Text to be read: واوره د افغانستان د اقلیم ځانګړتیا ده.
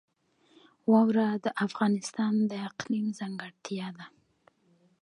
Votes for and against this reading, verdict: 1, 2, rejected